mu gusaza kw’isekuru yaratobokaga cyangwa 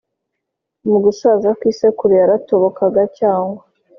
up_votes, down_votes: 2, 0